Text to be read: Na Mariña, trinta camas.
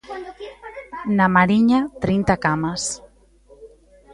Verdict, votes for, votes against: rejected, 0, 2